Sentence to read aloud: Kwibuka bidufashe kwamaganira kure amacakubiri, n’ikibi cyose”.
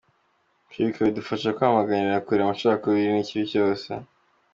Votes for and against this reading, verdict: 2, 1, accepted